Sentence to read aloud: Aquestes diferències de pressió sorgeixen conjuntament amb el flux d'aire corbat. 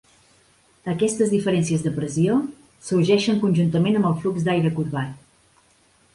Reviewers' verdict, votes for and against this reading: accepted, 3, 0